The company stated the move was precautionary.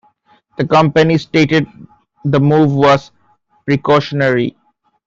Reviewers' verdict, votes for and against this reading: accepted, 2, 1